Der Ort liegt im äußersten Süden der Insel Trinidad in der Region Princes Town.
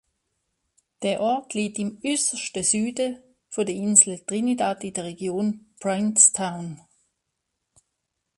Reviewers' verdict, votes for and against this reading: rejected, 1, 2